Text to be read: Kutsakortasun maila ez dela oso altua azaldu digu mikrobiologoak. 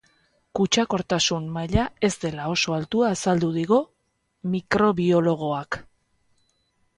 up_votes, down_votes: 2, 0